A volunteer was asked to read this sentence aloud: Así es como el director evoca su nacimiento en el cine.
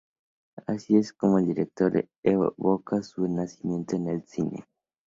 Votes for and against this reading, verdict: 2, 0, accepted